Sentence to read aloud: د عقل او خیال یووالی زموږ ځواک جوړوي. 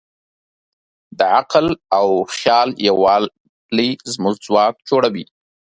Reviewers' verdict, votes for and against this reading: accepted, 3, 0